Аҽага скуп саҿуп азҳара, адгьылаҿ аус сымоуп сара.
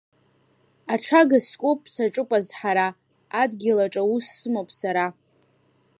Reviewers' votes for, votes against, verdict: 2, 0, accepted